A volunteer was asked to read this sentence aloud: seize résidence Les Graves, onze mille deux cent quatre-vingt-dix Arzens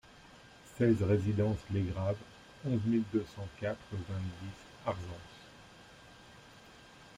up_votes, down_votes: 1, 2